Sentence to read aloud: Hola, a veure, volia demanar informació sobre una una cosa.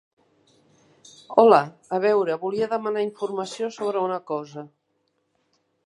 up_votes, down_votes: 0, 2